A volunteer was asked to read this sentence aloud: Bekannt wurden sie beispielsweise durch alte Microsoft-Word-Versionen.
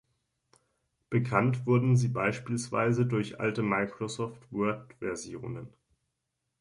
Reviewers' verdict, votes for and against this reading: accepted, 3, 0